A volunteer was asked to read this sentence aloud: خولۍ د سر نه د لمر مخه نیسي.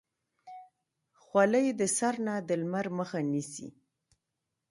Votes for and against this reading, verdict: 1, 2, rejected